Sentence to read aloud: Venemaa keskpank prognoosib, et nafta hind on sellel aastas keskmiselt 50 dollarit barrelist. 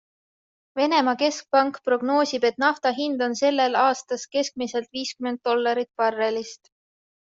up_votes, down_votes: 0, 2